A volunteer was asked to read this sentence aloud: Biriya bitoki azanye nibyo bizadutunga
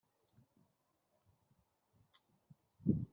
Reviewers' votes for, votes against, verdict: 1, 2, rejected